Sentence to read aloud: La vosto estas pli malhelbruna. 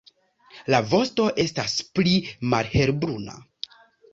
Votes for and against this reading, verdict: 2, 1, accepted